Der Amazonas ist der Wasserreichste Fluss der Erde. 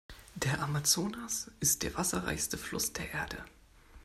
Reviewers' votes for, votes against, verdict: 2, 0, accepted